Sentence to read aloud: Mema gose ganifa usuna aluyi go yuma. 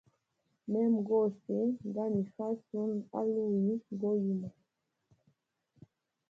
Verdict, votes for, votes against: rejected, 0, 2